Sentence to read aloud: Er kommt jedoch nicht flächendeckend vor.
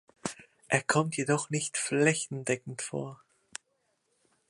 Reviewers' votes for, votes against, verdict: 2, 0, accepted